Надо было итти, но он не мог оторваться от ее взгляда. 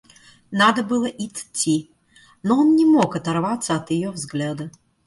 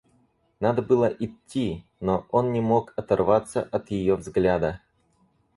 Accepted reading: first